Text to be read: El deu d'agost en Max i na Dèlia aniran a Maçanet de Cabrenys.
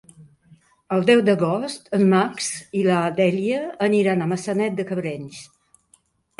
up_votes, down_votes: 1, 2